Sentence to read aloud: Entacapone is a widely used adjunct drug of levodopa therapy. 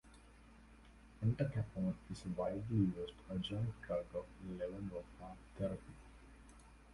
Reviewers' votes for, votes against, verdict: 1, 2, rejected